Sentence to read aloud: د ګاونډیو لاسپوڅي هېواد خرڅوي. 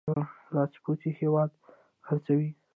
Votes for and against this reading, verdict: 2, 0, accepted